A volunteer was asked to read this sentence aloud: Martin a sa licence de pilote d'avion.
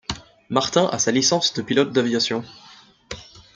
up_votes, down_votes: 1, 2